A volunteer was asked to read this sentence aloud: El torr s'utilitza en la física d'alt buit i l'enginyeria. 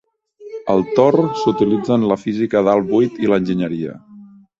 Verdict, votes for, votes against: rejected, 0, 2